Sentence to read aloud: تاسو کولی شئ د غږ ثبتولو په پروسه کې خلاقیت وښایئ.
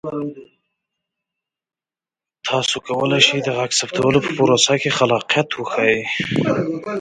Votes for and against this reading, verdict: 2, 0, accepted